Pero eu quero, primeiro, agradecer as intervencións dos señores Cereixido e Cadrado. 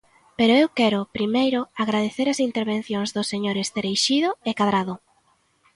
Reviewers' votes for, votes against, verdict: 2, 0, accepted